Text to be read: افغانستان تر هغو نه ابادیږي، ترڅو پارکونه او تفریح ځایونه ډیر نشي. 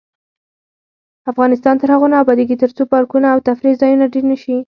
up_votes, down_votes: 4, 0